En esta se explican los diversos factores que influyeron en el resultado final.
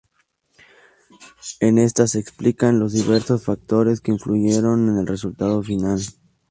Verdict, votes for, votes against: accepted, 2, 0